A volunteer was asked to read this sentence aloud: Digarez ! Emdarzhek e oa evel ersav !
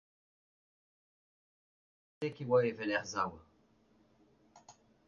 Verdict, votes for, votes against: rejected, 0, 2